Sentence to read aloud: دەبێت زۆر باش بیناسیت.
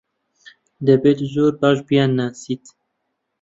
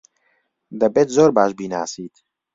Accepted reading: second